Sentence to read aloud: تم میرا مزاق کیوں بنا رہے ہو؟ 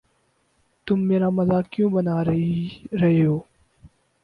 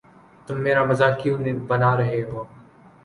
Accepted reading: second